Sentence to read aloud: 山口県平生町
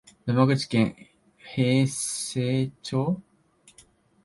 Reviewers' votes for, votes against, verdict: 0, 2, rejected